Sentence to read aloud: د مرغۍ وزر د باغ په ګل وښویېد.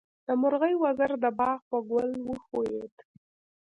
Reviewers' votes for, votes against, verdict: 2, 0, accepted